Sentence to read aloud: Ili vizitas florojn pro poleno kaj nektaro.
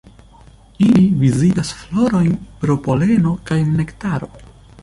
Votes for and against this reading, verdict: 2, 0, accepted